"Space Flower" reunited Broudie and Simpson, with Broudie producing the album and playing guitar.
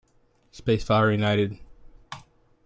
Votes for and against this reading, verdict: 0, 2, rejected